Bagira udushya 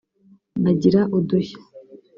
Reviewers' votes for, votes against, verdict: 1, 2, rejected